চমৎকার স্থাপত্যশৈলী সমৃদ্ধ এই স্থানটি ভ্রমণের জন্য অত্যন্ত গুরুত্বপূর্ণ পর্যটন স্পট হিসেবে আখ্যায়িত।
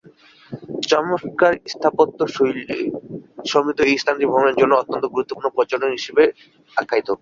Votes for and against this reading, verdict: 2, 0, accepted